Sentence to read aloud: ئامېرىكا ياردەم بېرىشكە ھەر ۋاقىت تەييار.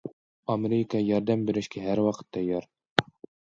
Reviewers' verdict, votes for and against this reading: accepted, 2, 0